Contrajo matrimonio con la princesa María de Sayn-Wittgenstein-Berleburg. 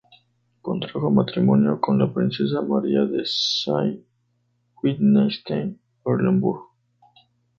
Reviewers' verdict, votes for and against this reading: rejected, 0, 4